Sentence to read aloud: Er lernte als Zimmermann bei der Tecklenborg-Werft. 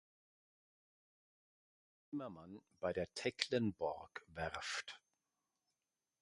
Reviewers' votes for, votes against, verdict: 0, 2, rejected